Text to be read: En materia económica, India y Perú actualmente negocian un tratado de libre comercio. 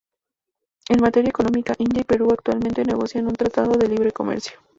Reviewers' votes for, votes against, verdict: 0, 2, rejected